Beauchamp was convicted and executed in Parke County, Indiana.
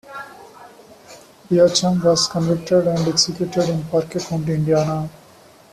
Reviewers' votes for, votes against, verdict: 0, 2, rejected